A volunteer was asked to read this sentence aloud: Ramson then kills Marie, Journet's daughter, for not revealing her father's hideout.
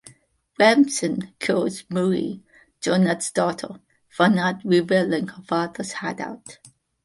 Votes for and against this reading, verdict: 1, 2, rejected